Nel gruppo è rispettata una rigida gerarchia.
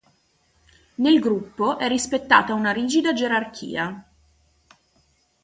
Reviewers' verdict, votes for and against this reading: accepted, 2, 0